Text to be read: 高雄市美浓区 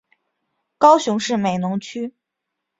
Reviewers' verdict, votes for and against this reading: accepted, 2, 0